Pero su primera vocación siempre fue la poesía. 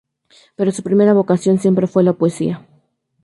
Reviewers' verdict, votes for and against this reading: rejected, 0, 2